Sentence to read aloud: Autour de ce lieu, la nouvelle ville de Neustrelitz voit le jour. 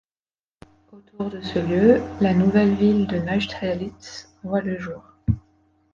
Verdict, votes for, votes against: accepted, 2, 0